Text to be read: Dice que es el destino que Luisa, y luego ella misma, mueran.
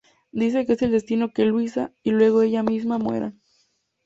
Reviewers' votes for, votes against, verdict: 2, 0, accepted